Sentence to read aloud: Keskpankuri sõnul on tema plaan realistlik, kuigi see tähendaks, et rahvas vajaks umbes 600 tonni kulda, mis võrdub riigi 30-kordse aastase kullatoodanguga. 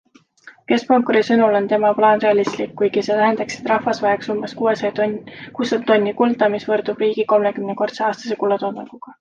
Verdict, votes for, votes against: rejected, 0, 2